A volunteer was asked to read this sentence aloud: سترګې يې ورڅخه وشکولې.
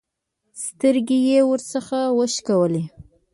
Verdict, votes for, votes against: rejected, 1, 2